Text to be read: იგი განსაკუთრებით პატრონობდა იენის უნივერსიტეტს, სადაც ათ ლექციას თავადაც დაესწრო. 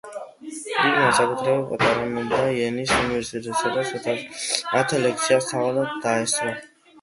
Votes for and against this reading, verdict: 1, 2, rejected